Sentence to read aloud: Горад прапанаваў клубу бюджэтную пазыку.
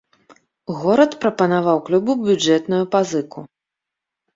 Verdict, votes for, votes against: rejected, 1, 2